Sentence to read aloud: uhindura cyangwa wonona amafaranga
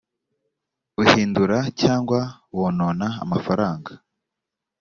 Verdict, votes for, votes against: accepted, 2, 1